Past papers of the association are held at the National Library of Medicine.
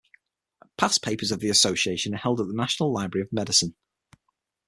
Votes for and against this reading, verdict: 6, 0, accepted